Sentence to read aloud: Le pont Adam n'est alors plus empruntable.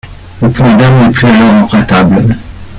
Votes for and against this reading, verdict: 0, 2, rejected